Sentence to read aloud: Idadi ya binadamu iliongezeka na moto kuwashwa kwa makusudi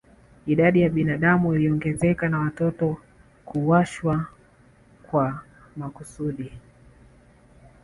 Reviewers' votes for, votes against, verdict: 3, 1, accepted